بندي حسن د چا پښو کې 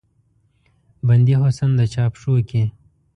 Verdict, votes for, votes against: accepted, 2, 0